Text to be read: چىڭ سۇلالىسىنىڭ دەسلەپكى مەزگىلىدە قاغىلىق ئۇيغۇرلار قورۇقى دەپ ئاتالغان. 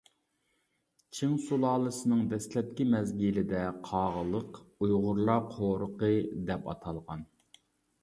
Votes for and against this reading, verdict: 2, 0, accepted